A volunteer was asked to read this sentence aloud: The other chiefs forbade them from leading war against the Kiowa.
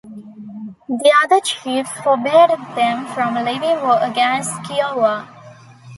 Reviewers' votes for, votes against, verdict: 0, 2, rejected